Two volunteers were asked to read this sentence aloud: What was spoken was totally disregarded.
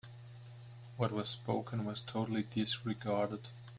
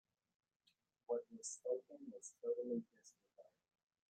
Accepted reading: first